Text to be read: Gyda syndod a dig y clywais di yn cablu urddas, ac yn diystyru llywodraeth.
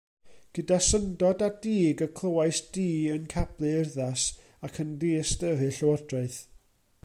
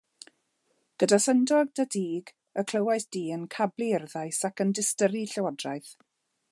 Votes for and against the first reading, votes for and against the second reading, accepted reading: 2, 0, 0, 2, first